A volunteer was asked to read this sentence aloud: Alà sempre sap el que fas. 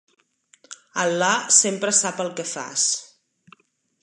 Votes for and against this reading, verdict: 3, 0, accepted